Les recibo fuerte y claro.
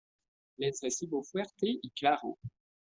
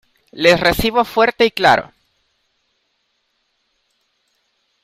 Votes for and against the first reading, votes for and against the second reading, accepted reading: 0, 2, 2, 0, second